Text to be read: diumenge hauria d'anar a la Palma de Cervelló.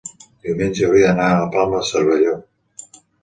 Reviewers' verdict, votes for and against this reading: accepted, 2, 0